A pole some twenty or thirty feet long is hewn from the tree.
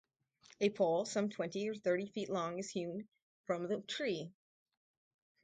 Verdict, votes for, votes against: rejected, 2, 2